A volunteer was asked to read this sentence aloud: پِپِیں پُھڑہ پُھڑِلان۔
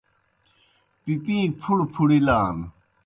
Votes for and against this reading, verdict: 2, 0, accepted